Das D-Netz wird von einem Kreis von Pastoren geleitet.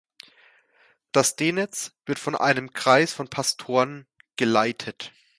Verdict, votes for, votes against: accepted, 2, 0